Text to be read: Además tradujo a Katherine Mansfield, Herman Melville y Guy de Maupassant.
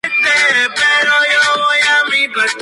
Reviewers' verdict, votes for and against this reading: rejected, 0, 2